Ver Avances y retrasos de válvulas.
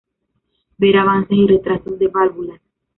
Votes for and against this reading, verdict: 2, 0, accepted